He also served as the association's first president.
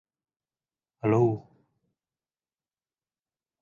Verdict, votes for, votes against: rejected, 0, 2